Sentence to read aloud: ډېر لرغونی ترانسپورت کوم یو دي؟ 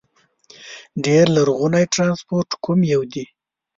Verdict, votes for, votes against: accepted, 2, 0